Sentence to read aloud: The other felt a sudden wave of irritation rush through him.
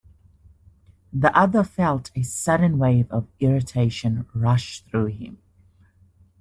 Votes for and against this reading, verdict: 2, 0, accepted